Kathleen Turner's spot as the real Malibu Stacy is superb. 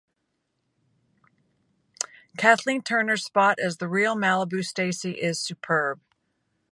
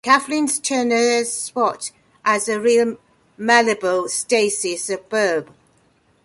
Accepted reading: first